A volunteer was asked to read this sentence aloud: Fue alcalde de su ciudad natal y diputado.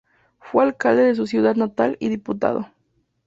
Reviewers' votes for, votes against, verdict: 2, 0, accepted